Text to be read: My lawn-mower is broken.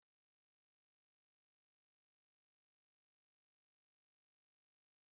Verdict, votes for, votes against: rejected, 0, 2